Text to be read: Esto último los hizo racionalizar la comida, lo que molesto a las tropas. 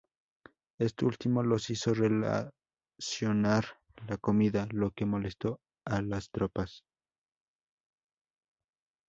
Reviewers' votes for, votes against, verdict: 0, 2, rejected